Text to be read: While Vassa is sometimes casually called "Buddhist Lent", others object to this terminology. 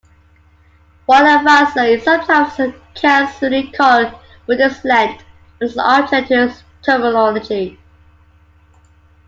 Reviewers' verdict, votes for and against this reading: rejected, 0, 2